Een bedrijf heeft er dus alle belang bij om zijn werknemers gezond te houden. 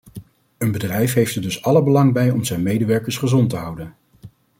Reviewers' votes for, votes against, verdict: 1, 2, rejected